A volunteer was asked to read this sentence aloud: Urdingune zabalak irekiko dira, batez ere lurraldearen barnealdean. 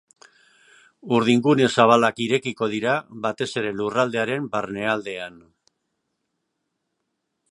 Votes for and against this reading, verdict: 2, 0, accepted